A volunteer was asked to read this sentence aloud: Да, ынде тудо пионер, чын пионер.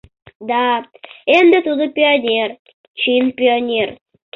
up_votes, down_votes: 0, 2